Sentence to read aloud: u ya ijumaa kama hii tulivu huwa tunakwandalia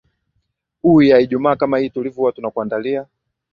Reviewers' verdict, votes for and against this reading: rejected, 0, 2